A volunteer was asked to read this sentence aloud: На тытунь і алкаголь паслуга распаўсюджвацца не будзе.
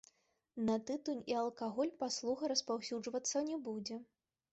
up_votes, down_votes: 1, 2